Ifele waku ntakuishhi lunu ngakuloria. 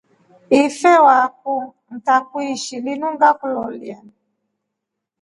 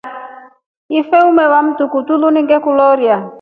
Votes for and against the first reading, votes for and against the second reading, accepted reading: 2, 0, 0, 2, first